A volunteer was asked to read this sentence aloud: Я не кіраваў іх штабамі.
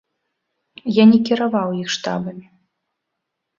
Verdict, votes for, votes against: accepted, 2, 0